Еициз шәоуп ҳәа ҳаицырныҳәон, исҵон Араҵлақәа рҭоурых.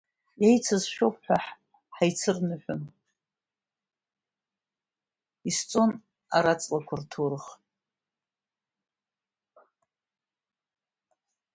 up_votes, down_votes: 2, 0